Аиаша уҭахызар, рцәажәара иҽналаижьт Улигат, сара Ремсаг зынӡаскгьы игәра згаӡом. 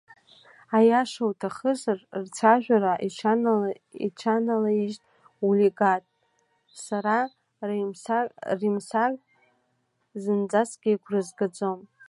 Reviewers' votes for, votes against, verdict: 1, 2, rejected